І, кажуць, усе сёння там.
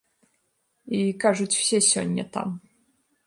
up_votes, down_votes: 0, 2